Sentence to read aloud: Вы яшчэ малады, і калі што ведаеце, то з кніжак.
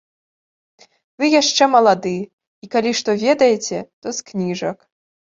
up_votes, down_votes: 2, 0